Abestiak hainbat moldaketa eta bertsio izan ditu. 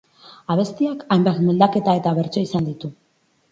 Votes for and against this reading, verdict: 0, 2, rejected